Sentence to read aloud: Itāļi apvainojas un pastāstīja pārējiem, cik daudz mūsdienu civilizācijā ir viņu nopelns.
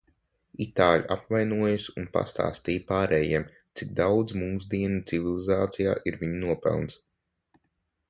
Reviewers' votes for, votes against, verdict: 3, 6, rejected